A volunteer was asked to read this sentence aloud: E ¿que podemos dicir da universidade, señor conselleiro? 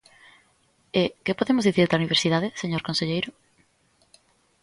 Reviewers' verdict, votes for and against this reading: accepted, 2, 0